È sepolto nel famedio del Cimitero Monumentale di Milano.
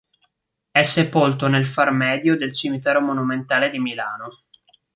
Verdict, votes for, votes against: rejected, 1, 2